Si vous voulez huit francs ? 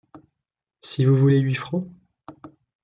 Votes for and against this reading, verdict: 3, 0, accepted